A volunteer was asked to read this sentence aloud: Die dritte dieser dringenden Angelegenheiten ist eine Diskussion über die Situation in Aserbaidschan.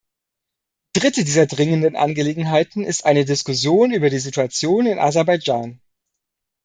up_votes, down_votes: 0, 2